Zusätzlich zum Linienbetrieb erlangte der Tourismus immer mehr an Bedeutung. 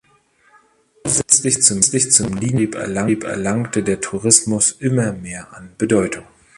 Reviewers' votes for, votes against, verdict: 0, 2, rejected